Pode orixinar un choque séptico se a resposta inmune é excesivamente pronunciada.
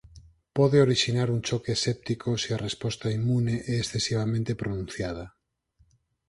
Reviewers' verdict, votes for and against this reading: accepted, 4, 0